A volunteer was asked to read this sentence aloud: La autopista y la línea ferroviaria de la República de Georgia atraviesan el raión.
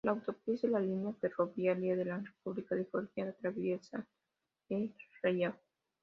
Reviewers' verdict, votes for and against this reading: rejected, 1, 2